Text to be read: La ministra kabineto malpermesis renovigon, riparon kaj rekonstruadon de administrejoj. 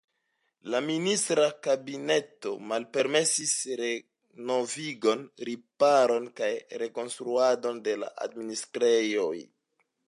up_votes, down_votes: 2, 1